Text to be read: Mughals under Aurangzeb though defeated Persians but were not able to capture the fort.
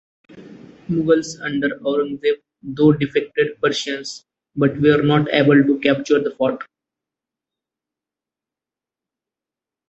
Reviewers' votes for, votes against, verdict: 0, 2, rejected